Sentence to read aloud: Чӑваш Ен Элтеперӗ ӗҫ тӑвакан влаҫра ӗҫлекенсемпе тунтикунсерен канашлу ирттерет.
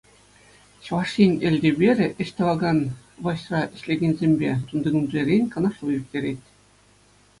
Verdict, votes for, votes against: accepted, 2, 0